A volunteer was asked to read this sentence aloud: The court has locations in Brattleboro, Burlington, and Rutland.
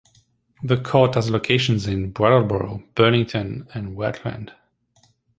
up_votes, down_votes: 2, 0